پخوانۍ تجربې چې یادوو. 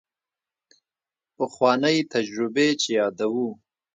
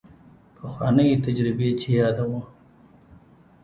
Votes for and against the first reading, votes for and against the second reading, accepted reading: 1, 2, 2, 0, second